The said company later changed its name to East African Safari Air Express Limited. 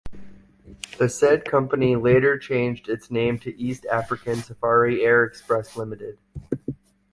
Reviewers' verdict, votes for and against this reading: accepted, 2, 0